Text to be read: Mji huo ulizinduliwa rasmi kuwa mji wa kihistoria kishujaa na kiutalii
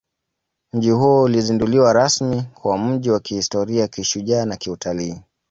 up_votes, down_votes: 2, 1